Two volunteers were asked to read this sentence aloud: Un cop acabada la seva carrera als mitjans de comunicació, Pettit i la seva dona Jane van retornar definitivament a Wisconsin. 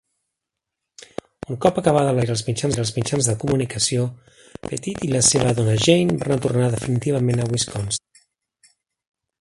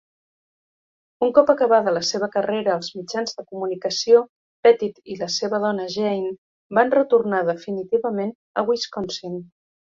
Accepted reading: second